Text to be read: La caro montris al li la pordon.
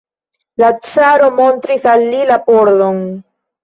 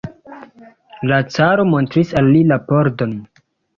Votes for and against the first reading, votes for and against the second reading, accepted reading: 1, 2, 2, 1, second